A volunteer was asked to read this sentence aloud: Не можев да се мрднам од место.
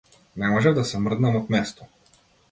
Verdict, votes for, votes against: accepted, 2, 0